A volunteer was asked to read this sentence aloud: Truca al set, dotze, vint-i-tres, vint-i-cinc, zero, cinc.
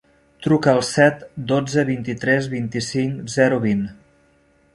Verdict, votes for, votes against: rejected, 0, 2